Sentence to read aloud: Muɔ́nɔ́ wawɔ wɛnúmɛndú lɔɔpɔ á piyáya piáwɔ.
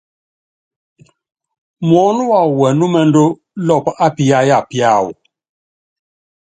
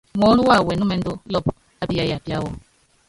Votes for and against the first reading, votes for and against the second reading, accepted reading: 3, 0, 0, 3, first